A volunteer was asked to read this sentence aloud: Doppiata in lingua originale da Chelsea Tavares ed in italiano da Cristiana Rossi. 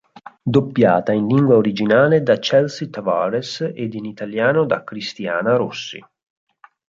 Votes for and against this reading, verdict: 4, 0, accepted